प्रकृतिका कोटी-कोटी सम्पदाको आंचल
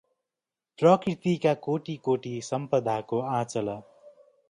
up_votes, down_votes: 2, 0